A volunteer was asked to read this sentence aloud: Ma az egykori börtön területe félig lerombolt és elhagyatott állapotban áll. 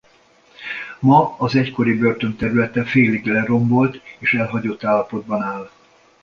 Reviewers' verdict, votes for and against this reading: rejected, 1, 2